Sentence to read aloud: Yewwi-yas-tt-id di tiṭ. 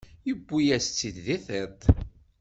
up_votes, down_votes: 2, 0